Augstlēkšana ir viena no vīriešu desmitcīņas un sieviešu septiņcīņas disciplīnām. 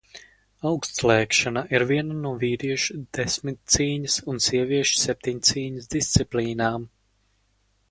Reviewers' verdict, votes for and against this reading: accepted, 4, 0